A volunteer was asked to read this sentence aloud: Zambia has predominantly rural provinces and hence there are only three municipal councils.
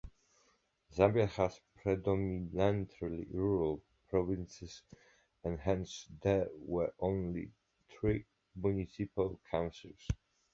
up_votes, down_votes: 1, 2